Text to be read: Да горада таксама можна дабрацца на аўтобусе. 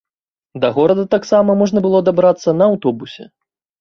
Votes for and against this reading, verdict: 1, 2, rejected